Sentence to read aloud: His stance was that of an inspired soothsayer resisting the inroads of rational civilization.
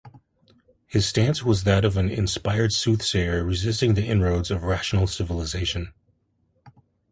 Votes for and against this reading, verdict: 2, 0, accepted